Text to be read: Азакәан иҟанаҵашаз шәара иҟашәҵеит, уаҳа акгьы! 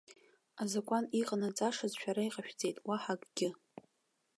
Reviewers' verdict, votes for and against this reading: accepted, 2, 0